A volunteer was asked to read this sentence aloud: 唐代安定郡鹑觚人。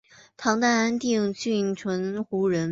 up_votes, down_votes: 2, 1